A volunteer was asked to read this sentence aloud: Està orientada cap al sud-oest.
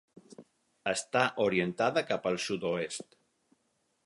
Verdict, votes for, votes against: accepted, 6, 0